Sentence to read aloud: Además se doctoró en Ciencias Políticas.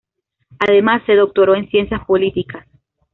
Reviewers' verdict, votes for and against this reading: accepted, 2, 0